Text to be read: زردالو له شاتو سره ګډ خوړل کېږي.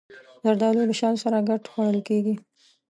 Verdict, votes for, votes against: accepted, 2, 0